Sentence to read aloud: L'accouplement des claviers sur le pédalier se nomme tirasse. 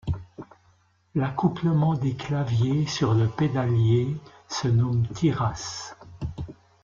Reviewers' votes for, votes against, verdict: 2, 0, accepted